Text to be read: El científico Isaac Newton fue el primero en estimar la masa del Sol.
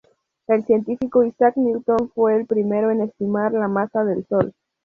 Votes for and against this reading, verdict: 2, 0, accepted